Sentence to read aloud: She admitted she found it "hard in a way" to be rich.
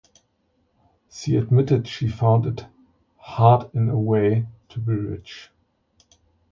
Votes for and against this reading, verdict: 2, 0, accepted